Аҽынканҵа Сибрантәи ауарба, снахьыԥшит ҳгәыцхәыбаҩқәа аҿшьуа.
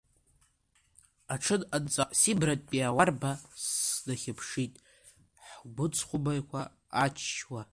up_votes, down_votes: 0, 2